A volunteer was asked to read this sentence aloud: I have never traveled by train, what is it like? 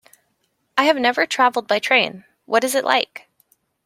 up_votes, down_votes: 2, 0